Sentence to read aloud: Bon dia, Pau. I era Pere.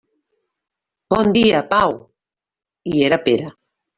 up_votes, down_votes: 2, 0